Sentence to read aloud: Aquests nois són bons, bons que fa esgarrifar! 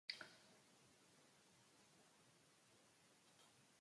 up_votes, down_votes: 1, 3